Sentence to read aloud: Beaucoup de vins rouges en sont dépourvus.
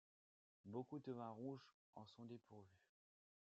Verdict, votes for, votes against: accepted, 2, 0